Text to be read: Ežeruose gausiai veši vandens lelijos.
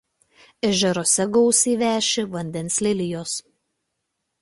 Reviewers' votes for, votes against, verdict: 2, 0, accepted